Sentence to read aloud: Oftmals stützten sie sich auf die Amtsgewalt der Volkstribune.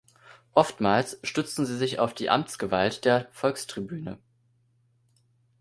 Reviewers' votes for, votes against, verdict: 1, 2, rejected